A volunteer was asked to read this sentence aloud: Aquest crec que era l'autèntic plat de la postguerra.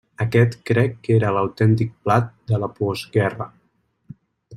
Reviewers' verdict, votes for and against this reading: rejected, 1, 2